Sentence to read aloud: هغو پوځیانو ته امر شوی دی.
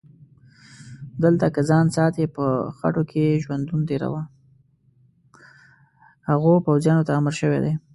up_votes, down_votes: 1, 2